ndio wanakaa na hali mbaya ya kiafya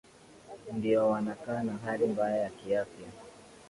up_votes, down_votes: 0, 2